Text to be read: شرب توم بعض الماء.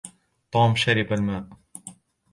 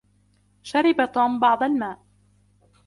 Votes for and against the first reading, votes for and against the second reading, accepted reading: 0, 2, 2, 0, second